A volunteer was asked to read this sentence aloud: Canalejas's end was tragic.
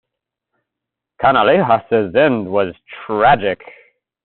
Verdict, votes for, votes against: accepted, 2, 0